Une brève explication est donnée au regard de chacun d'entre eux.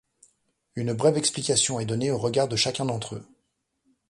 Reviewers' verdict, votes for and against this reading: accepted, 2, 0